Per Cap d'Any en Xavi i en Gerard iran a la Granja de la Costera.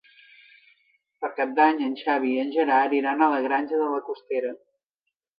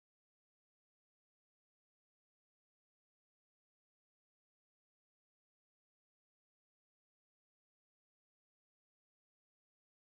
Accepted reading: first